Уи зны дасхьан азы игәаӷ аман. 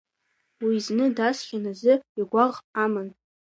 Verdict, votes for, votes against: accepted, 2, 0